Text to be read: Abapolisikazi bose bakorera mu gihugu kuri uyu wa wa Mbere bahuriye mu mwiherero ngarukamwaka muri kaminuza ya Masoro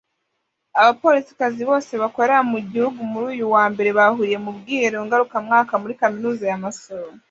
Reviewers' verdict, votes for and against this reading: rejected, 0, 2